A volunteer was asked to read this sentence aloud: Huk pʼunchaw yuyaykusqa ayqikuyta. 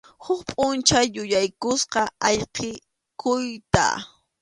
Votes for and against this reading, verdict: 2, 0, accepted